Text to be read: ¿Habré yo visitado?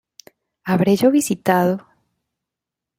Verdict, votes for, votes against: accepted, 2, 0